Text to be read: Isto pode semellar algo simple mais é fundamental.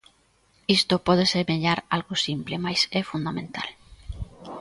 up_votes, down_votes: 2, 0